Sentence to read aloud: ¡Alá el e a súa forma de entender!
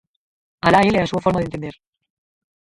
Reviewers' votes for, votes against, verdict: 0, 4, rejected